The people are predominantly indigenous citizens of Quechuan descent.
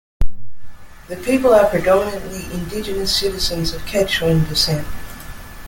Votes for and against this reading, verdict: 2, 0, accepted